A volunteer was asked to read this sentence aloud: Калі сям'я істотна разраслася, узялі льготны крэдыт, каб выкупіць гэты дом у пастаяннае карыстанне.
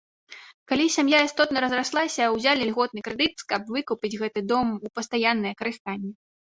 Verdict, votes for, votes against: accepted, 2, 0